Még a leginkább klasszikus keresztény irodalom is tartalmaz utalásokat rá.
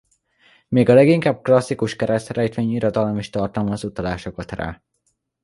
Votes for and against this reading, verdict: 0, 2, rejected